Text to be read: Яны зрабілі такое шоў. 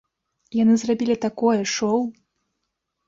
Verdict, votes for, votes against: accepted, 2, 0